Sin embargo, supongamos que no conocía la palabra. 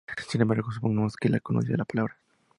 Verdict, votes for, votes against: accepted, 2, 0